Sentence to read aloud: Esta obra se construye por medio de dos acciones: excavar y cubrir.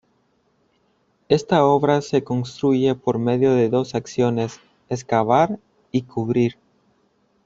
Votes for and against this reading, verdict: 2, 1, accepted